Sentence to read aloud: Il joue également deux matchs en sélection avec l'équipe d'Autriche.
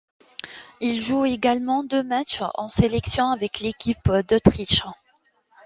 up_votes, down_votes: 2, 0